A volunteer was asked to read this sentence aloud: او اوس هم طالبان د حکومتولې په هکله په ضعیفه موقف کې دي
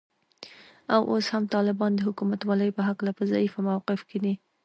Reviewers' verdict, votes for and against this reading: accepted, 2, 0